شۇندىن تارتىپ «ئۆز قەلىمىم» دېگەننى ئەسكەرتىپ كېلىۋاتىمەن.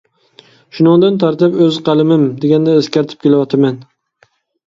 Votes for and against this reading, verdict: 0, 2, rejected